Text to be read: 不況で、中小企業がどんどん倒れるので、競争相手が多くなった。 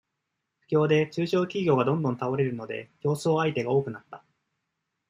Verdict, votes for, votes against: accepted, 2, 0